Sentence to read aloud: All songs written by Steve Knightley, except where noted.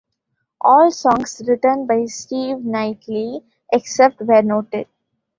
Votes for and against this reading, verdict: 2, 1, accepted